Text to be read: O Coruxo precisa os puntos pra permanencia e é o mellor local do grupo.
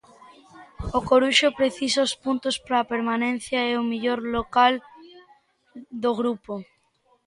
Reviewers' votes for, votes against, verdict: 2, 1, accepted